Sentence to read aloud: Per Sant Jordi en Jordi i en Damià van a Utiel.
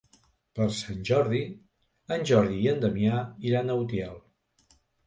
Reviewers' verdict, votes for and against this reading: rejected, 1, 2